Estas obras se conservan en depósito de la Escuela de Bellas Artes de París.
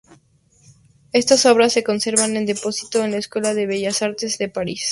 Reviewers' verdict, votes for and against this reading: rejected, 0, 2